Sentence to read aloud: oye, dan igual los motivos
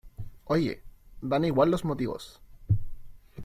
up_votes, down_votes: 2, 0